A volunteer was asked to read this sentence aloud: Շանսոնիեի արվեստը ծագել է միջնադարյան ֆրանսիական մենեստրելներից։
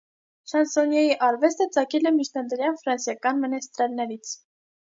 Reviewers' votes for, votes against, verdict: 2, 0, accepted